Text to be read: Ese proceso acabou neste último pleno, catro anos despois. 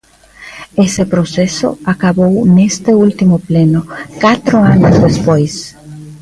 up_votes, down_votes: 2, 0